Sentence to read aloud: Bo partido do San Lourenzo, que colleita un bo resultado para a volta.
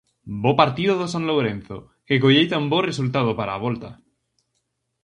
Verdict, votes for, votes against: rejected, 2, 2